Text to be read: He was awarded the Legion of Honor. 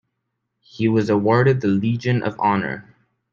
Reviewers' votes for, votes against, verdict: 2, 0, accepted